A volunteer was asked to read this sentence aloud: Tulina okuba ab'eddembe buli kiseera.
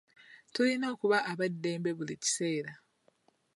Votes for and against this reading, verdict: 2, 0, accepted